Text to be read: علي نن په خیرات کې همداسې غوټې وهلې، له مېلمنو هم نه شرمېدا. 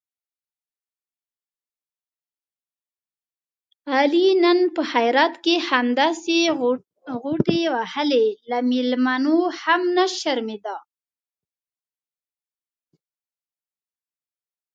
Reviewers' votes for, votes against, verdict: 1, 2, rejected